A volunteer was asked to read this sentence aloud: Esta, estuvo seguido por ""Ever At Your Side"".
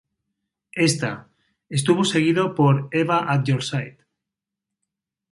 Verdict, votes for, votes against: rejected, 0, 2